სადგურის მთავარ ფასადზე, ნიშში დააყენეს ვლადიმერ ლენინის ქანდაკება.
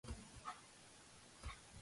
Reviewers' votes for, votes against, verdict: 0, 2, rejected